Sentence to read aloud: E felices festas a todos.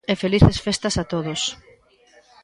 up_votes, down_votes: 2, 0